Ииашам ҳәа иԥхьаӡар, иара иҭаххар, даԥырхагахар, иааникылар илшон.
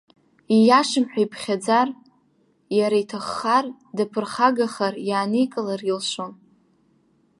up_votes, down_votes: 2, 0